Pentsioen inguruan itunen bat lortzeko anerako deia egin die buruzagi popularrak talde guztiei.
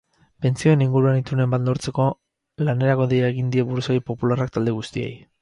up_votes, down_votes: 2, 2